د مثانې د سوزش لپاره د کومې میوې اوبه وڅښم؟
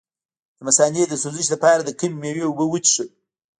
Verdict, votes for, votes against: accepted, 2, 0